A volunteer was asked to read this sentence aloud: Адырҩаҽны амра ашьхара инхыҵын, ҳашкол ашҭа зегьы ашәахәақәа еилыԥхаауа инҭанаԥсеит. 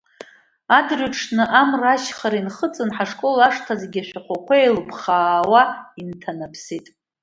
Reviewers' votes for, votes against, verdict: 2, 1, accepted